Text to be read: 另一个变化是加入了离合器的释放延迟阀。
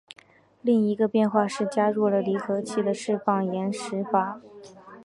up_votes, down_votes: 4, 0